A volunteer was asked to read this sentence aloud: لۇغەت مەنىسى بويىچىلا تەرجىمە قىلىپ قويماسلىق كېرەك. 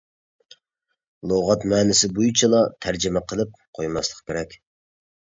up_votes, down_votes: 2, 0